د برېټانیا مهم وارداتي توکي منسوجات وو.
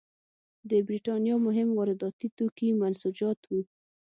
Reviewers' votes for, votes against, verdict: 6, 0, accepted